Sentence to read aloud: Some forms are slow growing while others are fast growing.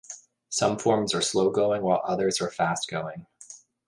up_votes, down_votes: 1, 2